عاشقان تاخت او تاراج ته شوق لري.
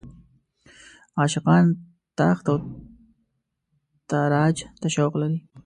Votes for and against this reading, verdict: 1, 2, rejected